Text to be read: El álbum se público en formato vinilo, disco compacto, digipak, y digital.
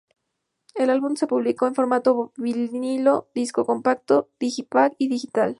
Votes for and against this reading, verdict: 2, 0, accepted